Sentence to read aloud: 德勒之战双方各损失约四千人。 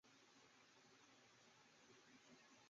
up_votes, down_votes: 2, 3